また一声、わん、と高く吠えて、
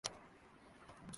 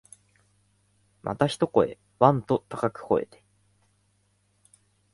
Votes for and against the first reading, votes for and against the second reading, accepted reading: 1, 2, 3, 0, second